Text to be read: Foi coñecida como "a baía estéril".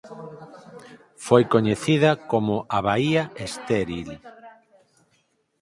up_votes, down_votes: 2, 2